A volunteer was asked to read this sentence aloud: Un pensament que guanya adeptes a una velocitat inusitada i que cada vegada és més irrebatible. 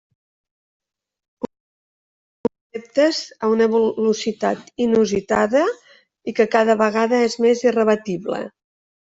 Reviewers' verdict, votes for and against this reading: rejected, 1, 2